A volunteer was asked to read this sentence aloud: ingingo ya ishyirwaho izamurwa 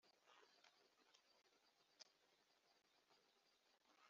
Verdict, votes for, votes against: rejected, 1, 2